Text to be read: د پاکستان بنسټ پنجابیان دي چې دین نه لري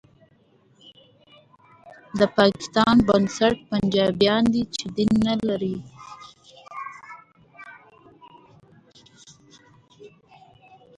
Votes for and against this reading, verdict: 2, 0, accepted